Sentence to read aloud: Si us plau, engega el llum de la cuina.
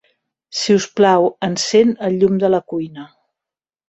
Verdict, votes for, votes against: rejected, 1, 2